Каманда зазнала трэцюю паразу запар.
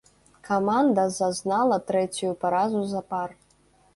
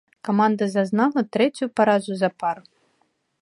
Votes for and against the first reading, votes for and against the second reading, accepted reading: 1, 2, 2, 0, second